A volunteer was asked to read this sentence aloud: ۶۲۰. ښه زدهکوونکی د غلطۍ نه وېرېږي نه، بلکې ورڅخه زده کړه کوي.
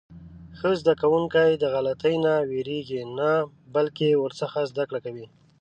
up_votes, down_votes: 0, 2